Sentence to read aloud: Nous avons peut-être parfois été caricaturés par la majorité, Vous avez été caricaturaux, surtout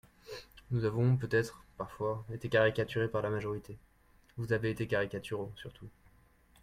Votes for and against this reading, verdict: 2, 0, accepted